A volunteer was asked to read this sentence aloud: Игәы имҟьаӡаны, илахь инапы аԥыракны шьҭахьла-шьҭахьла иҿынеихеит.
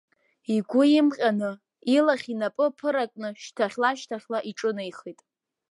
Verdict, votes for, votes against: rejected, 1, 2